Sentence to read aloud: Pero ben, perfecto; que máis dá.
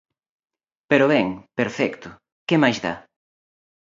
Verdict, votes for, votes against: accepted, 2, 0